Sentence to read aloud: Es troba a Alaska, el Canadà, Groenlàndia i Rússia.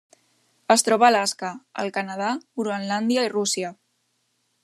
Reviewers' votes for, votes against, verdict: 2, 0, accepted